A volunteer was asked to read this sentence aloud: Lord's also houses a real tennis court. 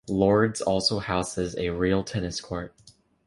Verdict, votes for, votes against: accepted, 2, 0